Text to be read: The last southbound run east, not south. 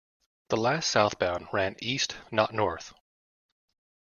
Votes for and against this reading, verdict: 0, 2, rejected